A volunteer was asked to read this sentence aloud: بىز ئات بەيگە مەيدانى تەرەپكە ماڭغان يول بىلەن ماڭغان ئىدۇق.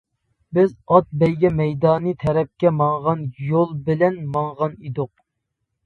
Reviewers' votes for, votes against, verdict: 2, 0, accepted